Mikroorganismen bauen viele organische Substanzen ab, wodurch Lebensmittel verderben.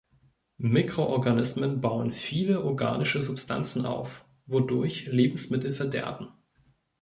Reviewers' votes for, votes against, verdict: 0, 2, rejected